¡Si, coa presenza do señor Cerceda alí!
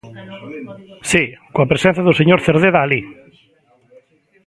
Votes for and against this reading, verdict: 0, 2, rejected